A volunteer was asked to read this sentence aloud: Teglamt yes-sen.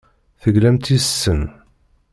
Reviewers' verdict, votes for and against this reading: accepted, 2, 0